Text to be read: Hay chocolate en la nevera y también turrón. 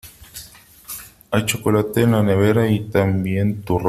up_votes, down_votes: 0, 2